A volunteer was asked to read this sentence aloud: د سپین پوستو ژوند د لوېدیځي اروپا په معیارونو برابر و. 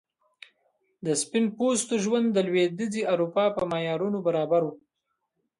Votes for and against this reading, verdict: 0, 2, rejected